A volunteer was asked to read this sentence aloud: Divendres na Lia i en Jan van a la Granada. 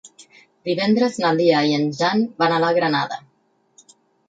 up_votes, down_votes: 6, 0